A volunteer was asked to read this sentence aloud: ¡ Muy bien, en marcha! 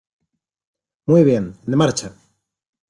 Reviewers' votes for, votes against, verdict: 2, 0, accepted